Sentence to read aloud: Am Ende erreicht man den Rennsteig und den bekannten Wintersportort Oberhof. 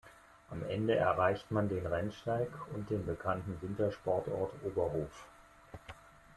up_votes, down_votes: 2, 0